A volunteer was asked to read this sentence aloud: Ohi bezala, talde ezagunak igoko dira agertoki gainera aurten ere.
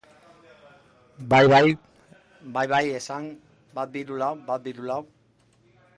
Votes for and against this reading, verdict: 0, 2, rejected